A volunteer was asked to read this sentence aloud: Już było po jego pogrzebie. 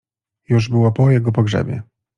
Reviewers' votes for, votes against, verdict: 2, 0, accepted